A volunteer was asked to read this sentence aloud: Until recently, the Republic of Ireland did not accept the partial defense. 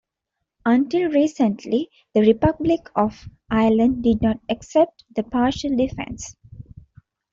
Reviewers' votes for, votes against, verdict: 2, 0, accepted